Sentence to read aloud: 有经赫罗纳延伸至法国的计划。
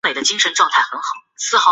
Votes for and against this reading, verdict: 2, 1, accepted